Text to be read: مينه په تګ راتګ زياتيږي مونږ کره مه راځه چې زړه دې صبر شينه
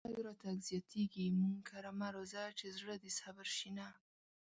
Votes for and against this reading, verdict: 0, 2, rejected